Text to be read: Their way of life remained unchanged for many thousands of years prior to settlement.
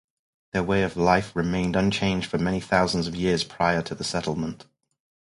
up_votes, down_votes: 2, 2